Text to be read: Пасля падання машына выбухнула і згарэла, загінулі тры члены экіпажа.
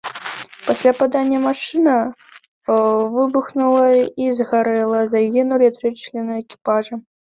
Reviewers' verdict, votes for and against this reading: accepted, 2, 1